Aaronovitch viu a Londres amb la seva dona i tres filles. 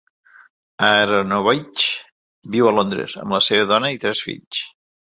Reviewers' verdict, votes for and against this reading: rejected, 1, 2